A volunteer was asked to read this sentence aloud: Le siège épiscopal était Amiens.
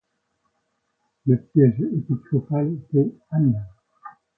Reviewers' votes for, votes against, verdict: 0, 2, rejected